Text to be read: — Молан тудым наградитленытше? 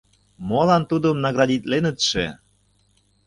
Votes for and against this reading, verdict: 2, 0, accepted